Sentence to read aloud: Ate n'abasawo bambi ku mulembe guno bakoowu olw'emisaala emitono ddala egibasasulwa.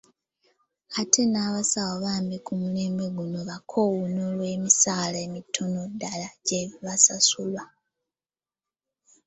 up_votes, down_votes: 0, 2